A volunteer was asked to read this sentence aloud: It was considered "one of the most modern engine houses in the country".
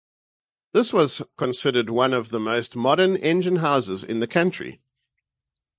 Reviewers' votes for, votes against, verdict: 0, 2, rejected